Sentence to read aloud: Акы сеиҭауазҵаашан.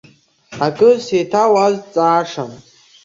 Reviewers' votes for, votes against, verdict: 2, 0, accepted